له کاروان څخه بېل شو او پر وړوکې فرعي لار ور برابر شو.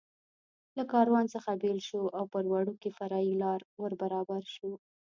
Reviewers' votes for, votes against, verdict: 1, 2, rejected